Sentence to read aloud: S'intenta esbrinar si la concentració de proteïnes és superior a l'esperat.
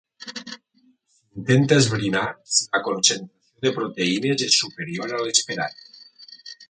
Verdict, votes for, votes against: rejected, 0, 2